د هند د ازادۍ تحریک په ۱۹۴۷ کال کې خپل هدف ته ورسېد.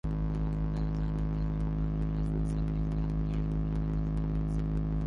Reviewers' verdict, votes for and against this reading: rejected, 0, 2